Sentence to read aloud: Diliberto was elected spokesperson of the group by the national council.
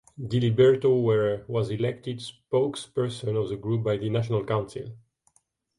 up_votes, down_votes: 1, 2